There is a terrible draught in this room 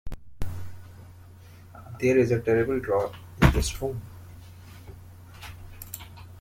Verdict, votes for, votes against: accepted, 2, 1